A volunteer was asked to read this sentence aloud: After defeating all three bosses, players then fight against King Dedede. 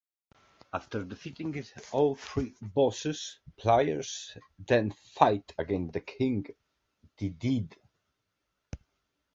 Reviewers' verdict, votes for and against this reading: accepted, 2, 0